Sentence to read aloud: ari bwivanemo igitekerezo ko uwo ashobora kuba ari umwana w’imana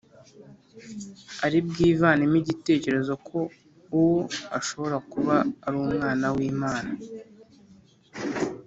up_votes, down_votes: 3, 0